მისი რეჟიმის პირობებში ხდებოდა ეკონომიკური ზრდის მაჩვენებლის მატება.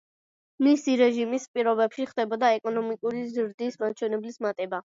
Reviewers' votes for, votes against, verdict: 2, 0, accepted